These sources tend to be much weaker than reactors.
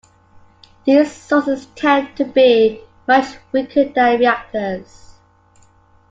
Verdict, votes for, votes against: rejected, 0, 2